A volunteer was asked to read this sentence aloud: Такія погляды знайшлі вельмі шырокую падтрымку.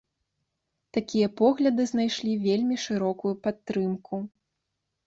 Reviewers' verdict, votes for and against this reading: accepted, 3, 0